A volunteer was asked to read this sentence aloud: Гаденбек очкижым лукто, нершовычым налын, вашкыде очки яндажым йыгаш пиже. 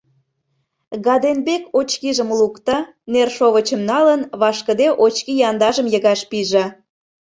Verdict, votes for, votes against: accepted, 2, 0